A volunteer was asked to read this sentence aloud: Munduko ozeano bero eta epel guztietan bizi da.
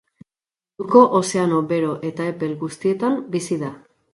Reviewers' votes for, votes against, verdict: 0, 2, rejected